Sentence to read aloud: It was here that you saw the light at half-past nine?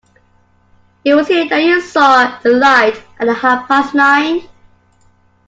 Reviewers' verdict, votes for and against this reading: accepted, 2, 0